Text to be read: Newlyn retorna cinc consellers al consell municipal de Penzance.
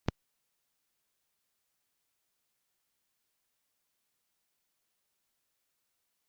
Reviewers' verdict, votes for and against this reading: rejected, 0, 2